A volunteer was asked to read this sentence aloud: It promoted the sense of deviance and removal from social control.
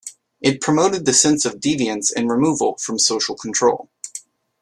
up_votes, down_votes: 2, 1